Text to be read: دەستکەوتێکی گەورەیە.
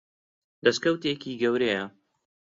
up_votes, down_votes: 2, 0